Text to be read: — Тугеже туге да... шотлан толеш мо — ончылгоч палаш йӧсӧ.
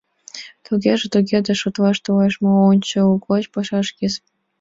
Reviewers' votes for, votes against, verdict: 2, 0, accepted